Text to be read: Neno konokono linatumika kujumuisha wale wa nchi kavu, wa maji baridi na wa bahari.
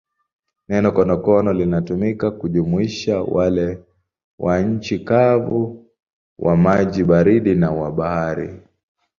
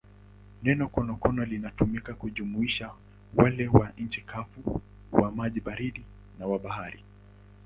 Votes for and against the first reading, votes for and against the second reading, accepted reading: 7, 3, 2, 3, first